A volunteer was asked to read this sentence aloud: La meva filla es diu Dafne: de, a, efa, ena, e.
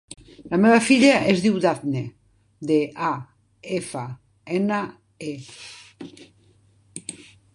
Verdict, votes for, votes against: rejected, 1, 2